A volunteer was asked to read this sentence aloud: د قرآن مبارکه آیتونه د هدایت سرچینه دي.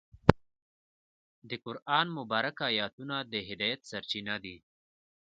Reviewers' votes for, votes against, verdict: 1, 2, rejected